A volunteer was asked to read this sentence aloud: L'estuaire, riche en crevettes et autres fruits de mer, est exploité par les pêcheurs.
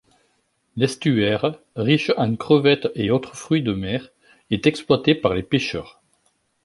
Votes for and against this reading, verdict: 2, 0, accepted